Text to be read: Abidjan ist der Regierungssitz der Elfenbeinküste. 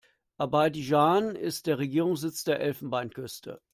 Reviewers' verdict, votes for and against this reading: rejected, 0, 2